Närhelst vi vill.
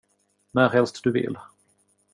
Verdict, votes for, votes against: rejected, 0, 2